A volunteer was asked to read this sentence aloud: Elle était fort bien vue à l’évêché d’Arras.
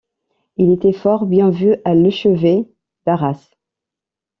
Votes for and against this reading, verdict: 1, 2, rejected